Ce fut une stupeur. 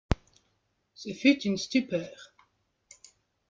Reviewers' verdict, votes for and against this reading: accepted, 2, 0